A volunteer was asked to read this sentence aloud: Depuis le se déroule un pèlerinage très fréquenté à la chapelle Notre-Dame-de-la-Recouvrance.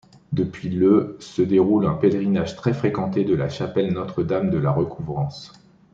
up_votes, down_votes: 0, 2